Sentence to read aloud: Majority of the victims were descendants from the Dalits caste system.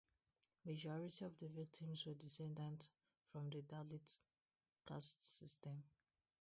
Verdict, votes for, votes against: rejected, 0, 2